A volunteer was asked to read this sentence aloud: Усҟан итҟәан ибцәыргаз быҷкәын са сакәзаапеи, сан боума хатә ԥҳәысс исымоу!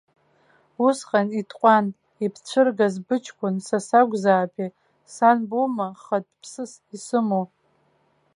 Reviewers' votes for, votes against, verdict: 0, 2, rejected